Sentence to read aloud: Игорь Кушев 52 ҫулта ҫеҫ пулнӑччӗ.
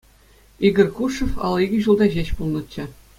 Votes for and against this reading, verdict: 0, 2, rejected